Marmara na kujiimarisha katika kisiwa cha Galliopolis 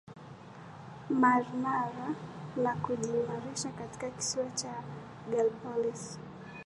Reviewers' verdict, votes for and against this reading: accepted, 8, 1